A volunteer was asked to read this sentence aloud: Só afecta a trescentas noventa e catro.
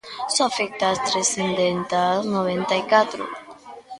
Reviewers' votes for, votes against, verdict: 0, 2, rejected